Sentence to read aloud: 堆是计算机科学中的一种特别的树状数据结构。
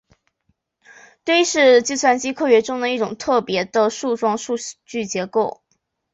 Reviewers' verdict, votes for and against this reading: accepted, 2, 0